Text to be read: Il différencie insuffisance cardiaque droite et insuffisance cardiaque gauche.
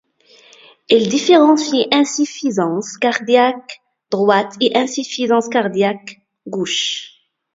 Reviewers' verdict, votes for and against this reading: accepted, 2, 0